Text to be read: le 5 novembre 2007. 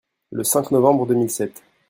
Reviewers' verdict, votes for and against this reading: rejected, 0, 2